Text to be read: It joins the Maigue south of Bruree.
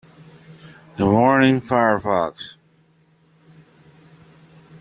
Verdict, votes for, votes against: rejected, 0, 2